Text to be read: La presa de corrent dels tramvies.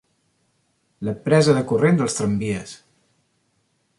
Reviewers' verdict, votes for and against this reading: accepted, 2, 0